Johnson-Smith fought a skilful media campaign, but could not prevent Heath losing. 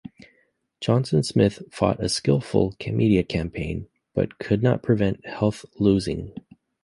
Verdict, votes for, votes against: rejected, 0, 2